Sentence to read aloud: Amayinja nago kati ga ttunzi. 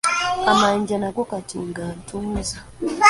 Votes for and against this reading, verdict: 0, 2, rejected